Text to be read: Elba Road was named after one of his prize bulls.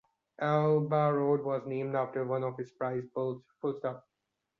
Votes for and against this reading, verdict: 0, 2, rejected